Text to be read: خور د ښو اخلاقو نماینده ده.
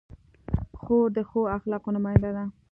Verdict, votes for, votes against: accepted, 2, 0